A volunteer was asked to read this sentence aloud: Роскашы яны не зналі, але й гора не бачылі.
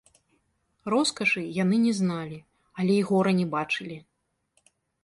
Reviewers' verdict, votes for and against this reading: accepted, 2, 0